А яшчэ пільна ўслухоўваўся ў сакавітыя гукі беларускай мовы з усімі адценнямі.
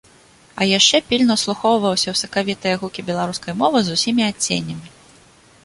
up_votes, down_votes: 2, 0